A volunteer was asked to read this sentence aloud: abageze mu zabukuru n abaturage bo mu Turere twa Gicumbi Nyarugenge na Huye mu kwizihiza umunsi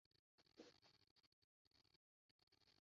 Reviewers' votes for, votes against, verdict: 0, 2, rejected